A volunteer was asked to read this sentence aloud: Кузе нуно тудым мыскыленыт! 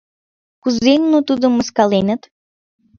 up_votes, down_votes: 0, 2